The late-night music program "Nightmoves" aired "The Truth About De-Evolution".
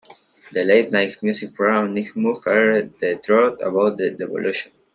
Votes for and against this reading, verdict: 0, 2, rejected